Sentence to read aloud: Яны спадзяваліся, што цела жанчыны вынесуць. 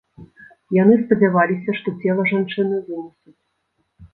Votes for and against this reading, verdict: 1, 2, rejected